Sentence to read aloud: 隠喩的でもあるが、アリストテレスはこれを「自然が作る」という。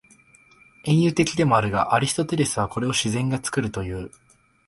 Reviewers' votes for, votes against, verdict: 2, 0, accepted